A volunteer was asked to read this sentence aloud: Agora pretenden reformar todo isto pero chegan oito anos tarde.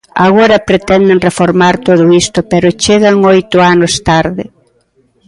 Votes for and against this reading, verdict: 2, 0, accepted